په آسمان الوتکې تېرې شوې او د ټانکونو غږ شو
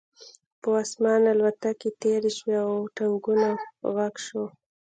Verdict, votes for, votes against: rejected, 1, 2